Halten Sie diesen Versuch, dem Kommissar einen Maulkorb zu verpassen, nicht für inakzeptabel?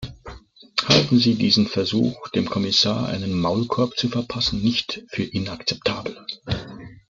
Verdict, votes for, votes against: accepted, 2, 0